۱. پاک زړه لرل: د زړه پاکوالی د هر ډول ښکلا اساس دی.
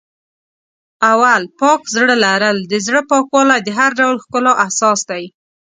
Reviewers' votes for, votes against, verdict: 0, 2, rejected